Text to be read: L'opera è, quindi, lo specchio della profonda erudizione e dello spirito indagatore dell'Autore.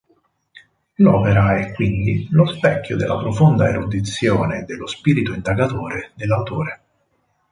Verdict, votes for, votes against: accepted, 4, 0